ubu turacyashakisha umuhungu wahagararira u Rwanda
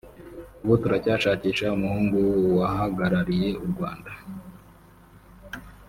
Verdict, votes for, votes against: rejected, 0, 2